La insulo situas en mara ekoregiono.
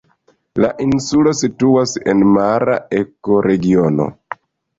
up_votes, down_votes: 1, 2